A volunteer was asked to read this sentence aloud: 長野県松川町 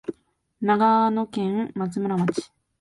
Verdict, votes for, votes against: rejected, 0, 2